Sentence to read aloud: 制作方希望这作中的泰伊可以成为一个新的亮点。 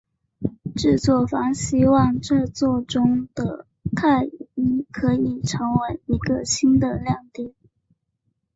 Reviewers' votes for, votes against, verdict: 2, 0, accepted